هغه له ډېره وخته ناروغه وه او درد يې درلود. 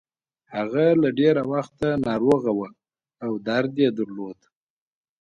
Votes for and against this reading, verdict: 2, 0, accepted